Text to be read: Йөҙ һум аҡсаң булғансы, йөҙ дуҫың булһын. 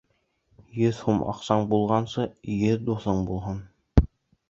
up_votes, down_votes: 2, 0